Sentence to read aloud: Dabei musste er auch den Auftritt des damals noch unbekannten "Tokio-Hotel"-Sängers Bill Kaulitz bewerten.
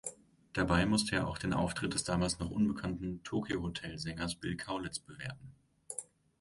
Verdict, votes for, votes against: accepted, 2, 0